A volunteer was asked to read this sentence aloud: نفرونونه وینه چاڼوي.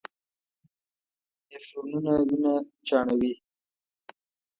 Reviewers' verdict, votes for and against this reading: rejected, 1, 2